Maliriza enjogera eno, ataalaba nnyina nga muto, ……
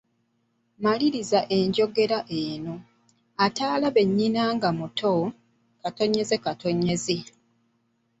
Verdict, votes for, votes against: rejected, 0, 3